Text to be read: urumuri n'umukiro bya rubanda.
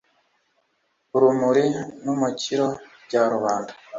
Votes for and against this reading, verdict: 2, 0, accepted